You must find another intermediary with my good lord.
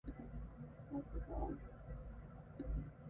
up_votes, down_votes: 0, 2